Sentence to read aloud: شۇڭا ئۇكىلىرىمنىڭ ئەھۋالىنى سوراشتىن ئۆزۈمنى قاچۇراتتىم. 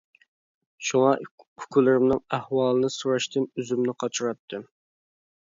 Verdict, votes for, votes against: accepted, 2, 1